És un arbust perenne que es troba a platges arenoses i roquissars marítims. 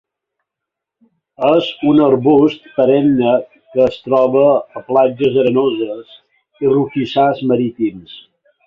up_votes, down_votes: 3, 0